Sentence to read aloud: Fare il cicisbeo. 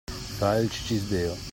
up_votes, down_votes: 2, 1